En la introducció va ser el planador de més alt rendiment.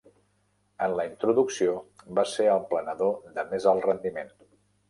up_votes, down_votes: 3, 0